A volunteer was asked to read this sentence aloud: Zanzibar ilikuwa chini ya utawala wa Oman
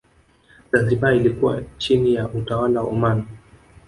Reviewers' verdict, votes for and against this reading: accepted, 2, 0